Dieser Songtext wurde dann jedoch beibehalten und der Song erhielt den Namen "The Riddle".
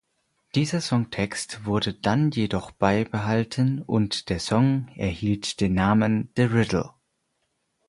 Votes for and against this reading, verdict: 4, 0, accepted